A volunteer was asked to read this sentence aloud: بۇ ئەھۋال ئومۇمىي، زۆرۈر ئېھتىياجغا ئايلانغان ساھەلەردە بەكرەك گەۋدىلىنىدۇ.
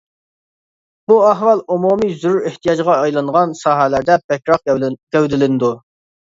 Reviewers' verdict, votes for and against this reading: rejected, 1, 2